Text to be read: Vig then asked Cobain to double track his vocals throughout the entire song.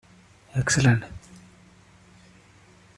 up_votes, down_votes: 0, 2